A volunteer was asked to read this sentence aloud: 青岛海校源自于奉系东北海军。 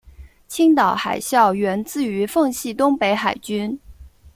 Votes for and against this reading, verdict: 2, 0, accepted